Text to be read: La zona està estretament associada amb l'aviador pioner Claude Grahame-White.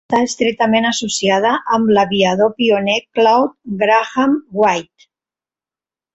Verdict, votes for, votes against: rejected, 0, 2